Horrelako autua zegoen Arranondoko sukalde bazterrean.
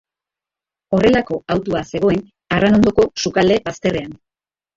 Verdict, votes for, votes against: accepted, 2, 1